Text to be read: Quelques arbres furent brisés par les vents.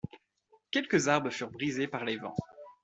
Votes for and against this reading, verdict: 2, 0, accepted